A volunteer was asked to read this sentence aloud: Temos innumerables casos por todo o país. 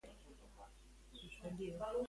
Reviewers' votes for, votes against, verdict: 0, 2, rejected